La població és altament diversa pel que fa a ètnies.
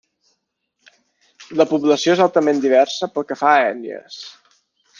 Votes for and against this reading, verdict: 2, 0, accepted